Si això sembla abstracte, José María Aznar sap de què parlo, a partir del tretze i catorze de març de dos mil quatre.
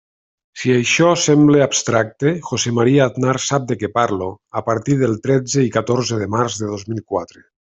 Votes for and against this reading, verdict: 2, 0, accepted